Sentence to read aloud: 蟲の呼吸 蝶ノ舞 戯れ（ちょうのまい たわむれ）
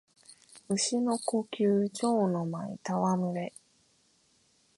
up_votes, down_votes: 3, 0